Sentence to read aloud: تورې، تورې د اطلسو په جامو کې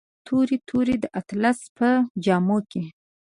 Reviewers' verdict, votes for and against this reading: accepted, 2, 0